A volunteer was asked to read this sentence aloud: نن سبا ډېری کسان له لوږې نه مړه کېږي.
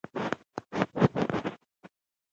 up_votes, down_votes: 0, 2